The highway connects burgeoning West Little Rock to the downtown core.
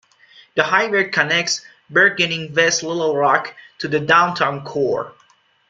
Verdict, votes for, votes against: accepted, 2, 0